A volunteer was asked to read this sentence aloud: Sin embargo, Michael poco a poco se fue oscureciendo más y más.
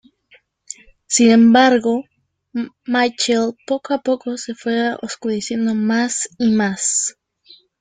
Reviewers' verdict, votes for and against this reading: rejected, 1, 2